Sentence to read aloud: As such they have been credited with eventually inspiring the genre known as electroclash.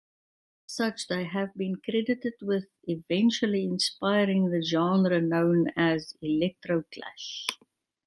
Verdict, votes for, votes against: rejected, 1, 2